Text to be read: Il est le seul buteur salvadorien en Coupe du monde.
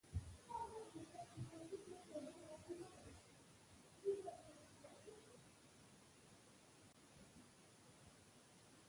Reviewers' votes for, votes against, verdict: 0, 2, rejected